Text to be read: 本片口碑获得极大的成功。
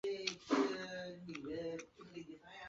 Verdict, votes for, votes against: rejected, 0, 3